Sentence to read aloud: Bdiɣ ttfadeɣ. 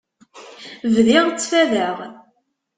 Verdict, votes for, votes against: accepted, 2, 0